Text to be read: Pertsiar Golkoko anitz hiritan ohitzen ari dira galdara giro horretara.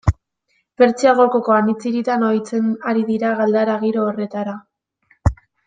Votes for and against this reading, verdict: 3, 2, accepted